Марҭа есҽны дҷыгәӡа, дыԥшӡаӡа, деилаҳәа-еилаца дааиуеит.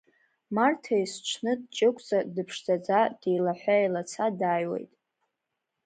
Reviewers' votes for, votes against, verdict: 2, 0, accepted